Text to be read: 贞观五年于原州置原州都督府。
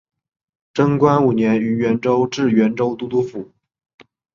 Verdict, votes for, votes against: accepted, 3, 0